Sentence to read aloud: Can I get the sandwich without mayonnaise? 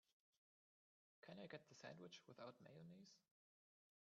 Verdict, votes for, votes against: rejected, 0, 2